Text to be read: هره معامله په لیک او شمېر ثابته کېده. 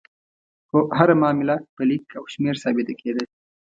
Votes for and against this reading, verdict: 2, 0, accepted